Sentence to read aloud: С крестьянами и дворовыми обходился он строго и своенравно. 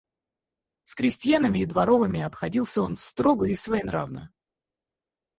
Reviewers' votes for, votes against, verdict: 2, 4, rejected